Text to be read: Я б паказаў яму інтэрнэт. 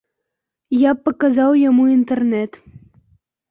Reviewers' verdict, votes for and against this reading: accepted, 2, 0